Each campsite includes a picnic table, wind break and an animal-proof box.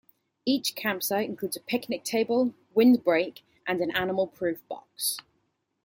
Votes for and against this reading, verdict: 3, 0, accepted